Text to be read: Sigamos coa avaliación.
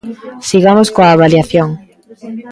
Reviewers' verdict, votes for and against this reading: rejected, 1, 2